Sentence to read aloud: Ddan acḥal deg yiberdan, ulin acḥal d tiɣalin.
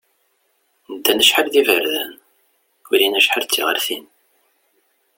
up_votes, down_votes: 2, 0